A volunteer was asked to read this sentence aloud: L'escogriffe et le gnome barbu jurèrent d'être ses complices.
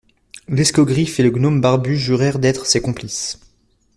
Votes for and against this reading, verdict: 2, 0, accepted